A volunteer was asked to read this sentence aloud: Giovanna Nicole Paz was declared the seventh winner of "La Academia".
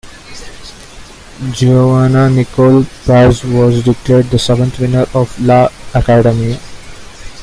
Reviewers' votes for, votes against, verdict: 2, 1, accepted